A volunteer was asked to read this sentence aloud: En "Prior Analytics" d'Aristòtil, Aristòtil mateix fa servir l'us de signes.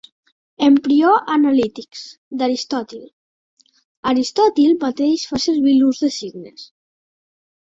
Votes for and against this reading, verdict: 1, 2, rejected